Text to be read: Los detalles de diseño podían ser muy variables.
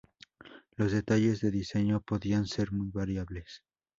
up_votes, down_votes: 2, 0